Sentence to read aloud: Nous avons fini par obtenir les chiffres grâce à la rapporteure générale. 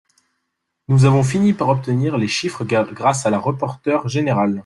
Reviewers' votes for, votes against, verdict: 0, 2, rejected